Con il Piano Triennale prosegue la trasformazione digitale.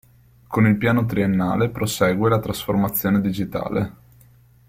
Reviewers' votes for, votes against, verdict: 2, 1, accepted